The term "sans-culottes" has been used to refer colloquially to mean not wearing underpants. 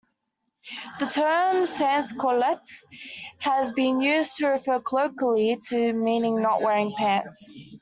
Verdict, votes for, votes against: rejected, 0, 2